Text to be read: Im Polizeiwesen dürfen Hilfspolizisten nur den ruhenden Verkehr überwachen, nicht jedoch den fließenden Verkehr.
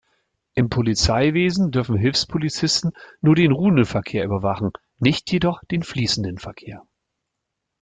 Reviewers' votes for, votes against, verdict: 2, 0, accepted